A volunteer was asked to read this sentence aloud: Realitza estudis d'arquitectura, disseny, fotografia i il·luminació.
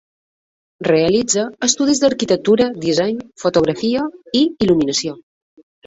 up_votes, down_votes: 2, 0